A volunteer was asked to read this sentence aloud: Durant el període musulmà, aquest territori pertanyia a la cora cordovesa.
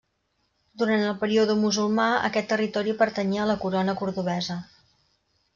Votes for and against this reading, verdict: 0, 2, rejected